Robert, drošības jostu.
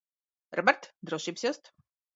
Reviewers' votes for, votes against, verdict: 1, 2, rejected